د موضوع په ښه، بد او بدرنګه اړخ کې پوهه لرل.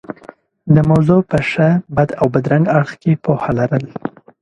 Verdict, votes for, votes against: accepted, 2, 0